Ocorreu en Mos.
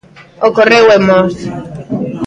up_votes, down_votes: 1, 2